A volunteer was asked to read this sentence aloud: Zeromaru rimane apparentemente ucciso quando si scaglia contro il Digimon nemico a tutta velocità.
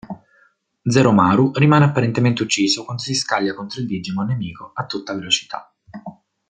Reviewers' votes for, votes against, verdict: 2, 0, accepted